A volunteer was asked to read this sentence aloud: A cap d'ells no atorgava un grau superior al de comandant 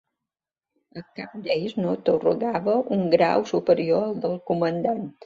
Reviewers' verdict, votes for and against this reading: accepted, 2, 0